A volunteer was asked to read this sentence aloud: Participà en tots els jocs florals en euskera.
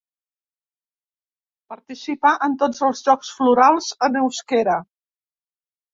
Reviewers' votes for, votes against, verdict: 2, 0, accepted